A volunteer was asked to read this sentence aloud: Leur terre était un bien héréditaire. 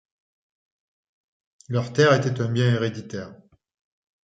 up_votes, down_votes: 2, 0